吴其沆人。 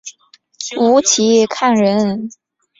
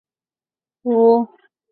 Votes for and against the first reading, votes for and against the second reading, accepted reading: 2, 0, 0, 2, first